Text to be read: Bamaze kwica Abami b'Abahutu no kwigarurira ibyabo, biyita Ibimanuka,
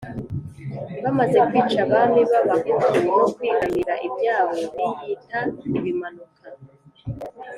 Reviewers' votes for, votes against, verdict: 1, 2, rejected